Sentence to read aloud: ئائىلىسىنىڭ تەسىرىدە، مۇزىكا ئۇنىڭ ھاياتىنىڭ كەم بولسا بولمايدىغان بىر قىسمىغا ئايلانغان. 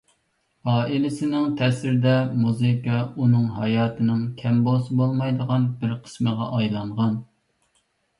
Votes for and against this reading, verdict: 2, 0, accepted